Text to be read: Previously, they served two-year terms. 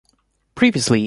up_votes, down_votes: 0, 2